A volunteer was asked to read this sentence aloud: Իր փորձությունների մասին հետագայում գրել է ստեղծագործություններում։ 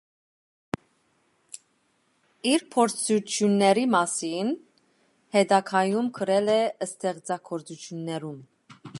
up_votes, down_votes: 1, 2